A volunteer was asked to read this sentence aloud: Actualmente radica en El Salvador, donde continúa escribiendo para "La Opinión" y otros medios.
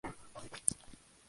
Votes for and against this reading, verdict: 0, 2, rejected